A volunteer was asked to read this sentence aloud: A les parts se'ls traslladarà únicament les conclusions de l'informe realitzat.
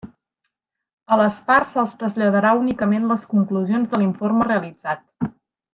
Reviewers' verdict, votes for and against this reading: accepted, 3, 0